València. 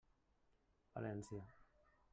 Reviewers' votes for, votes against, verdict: 1, 2, rejected